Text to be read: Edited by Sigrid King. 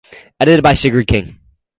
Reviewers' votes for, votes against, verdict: 2, 0, accepted